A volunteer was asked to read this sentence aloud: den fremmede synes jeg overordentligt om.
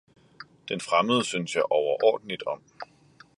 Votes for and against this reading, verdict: 1, 2, rejected